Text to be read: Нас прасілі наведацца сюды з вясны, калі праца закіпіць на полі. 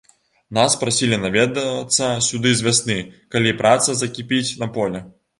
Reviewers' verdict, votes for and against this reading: accepted, 2, 1